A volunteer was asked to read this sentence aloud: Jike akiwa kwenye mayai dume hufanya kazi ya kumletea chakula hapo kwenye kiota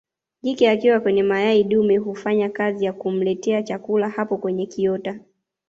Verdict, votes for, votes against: accepted, 2, 1